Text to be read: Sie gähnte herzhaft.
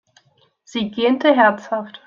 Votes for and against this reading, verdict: 2, 0, accepted